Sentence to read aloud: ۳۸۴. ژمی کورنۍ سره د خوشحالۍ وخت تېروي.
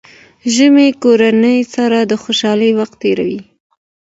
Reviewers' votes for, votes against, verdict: 0, 2, rejected